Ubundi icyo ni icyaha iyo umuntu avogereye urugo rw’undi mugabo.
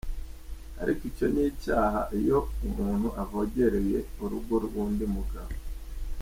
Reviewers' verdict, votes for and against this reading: accepted, 2, 0